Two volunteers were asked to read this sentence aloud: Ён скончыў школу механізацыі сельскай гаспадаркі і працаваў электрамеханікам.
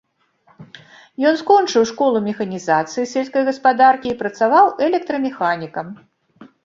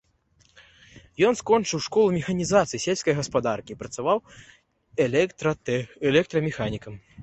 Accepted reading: first